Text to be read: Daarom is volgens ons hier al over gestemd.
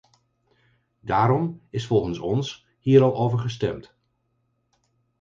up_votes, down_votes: 4, 0